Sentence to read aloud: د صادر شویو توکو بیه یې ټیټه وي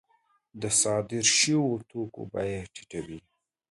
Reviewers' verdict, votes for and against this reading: accepted, 2, 0